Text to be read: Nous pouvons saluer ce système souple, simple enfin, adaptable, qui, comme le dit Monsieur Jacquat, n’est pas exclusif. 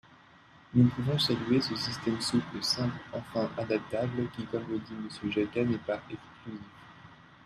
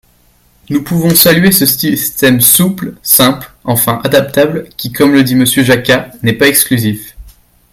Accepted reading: second